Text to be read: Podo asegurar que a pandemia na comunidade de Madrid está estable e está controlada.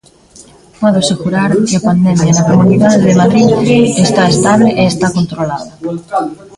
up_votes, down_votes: 0, 2